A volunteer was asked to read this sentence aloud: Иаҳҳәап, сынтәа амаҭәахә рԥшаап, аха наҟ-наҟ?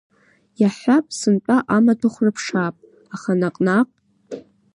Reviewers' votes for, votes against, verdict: 2, 0, accepted